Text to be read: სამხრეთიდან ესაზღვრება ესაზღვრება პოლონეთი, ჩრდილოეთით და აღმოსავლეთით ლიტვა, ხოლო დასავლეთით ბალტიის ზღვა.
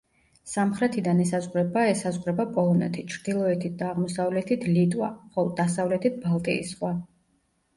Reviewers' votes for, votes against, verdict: 1, 2, rejected